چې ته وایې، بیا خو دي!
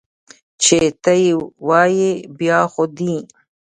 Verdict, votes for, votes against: rejected, 1, 2